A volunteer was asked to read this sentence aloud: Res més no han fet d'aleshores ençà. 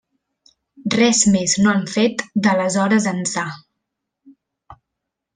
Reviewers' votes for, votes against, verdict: 2, 0, accepted